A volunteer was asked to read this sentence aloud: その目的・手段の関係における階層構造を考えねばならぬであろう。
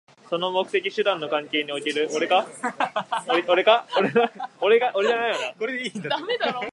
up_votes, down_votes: 0, 2